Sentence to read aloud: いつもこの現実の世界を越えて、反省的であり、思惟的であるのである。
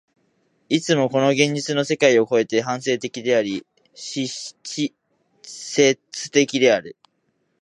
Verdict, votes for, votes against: rejected, 0, 2